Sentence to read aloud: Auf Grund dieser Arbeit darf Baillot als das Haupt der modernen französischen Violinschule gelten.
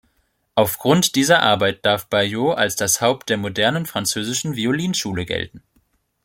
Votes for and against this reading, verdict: 2, 0, accepted